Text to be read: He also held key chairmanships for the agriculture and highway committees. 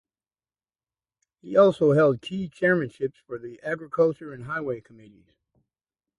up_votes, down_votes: 2, 0